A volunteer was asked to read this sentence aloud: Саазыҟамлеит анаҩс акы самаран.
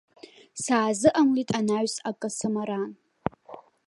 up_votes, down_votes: 0, 2